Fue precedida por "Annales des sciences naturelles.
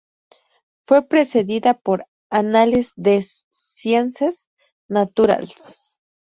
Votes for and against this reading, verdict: 2, 2, rejected